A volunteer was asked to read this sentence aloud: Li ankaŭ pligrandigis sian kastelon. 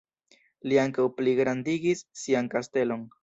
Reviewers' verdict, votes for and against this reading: rejected, 2, 3